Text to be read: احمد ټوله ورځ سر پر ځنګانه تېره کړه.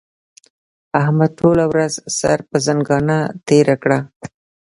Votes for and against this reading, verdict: 2, 0, accepted